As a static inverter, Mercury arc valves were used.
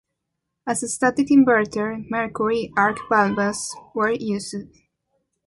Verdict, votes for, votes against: accepted, 2, 1